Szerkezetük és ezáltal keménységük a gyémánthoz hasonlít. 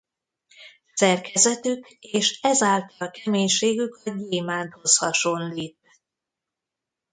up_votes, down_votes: 0, 2